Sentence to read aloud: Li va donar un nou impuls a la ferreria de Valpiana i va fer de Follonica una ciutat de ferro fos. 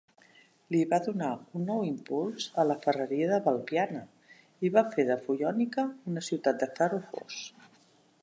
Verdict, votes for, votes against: rejected, 0, 2